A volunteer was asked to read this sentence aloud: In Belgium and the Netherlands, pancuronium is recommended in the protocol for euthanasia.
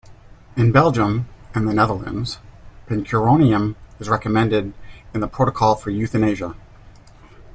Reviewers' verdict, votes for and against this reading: accepted, 2, 0